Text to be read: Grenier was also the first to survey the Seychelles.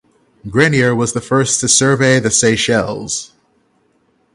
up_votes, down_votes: 0, 6